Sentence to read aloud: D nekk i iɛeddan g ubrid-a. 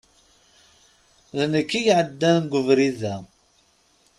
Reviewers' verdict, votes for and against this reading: accepted, 3, 0